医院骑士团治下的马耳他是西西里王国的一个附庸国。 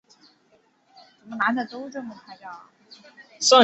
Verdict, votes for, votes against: accepted, 2, 0